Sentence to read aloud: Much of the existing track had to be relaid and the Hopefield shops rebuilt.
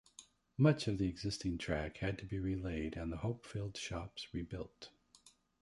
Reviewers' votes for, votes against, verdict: 2, 1, accepted